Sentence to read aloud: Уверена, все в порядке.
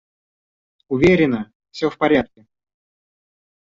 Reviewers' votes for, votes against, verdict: 2, 1, accepted